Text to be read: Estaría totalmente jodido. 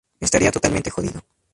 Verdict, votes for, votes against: accepted, 2, 0